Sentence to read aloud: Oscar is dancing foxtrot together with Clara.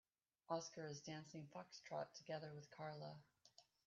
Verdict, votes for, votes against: rejected, 0, 2